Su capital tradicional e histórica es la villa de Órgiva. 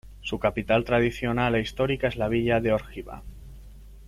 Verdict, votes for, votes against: accepted, 2, 0